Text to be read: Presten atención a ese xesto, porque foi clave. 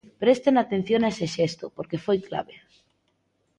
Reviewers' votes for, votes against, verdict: 2, 0, accepted